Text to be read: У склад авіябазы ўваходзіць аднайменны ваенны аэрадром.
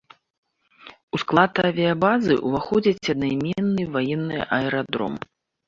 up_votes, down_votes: 2, 0